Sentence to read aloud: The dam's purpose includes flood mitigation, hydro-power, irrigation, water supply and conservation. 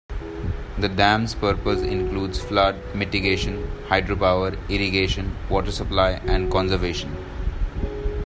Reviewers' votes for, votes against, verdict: 2, 1, accepted